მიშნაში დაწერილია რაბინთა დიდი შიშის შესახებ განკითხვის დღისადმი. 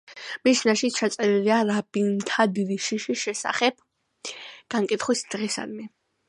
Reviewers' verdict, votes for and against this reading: rejected, 1, 2